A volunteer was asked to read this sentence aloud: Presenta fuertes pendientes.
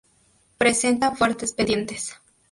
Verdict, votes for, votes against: rejected, 0, 2